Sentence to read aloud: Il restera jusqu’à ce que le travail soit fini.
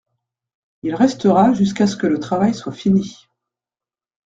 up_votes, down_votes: 2, 0